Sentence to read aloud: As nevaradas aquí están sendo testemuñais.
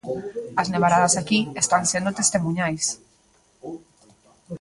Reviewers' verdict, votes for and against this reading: rejected, 1, 2